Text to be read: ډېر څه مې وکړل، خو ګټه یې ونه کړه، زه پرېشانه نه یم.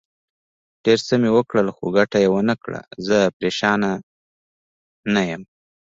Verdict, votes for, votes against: accepted, 2, 0